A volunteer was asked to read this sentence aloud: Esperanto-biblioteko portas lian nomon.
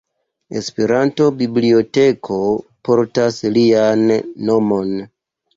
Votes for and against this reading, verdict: 2, 0, accepted